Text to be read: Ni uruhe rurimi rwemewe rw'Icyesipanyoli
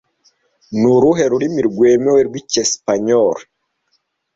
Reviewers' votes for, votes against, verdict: 2, 0, accepted